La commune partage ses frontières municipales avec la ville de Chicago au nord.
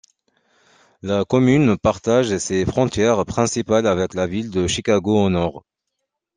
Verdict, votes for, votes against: rejected, 0, 2